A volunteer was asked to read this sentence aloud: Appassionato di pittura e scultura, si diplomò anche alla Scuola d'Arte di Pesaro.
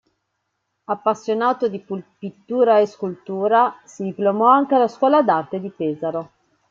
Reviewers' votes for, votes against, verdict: 1, 2, rejected